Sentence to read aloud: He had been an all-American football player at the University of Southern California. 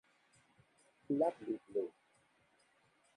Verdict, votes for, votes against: rejected, 0, 2